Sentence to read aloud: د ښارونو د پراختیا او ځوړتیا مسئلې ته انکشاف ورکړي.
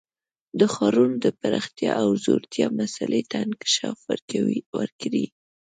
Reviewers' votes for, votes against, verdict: 1, 2, rejected